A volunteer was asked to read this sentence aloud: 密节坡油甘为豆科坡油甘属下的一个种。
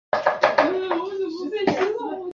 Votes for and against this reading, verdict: 0, 2, rejected